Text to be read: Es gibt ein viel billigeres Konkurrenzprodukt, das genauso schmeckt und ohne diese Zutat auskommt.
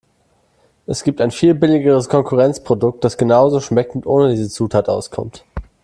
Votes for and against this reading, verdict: 0, 2, rejected